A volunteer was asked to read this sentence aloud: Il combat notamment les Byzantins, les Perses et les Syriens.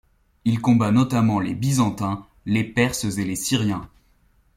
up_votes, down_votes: 2, 1